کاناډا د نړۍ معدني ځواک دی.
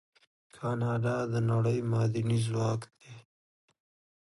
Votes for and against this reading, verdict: 1, 2, rejected